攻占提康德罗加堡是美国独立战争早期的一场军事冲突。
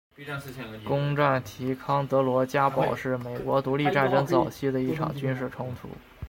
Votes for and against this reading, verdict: 0, 2, rejected